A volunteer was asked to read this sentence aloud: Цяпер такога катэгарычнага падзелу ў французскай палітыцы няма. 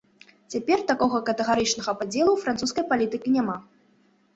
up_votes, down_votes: 1, 2